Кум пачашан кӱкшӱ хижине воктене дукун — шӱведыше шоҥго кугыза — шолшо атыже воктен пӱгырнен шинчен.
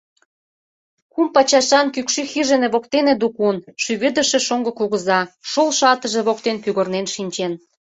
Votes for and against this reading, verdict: 2, 0, accepted